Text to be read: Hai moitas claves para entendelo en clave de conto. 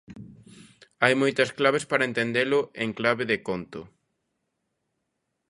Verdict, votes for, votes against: accepted, 2, 0